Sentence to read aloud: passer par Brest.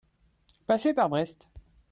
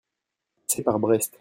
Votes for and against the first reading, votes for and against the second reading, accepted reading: 2, 0, 0, 2, first